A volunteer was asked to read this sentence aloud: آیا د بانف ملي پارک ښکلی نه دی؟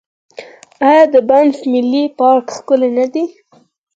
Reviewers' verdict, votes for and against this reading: rejected, 2, 4